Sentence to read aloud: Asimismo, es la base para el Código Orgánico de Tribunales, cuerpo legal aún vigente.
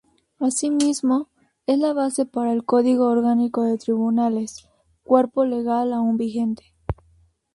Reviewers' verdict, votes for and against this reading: rejected, 0, 2